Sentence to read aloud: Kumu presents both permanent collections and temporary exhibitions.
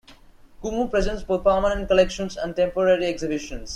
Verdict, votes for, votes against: accepted, 2, 0